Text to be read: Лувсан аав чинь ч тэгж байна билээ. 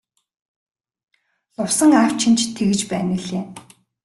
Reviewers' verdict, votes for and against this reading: rejected, 1, 2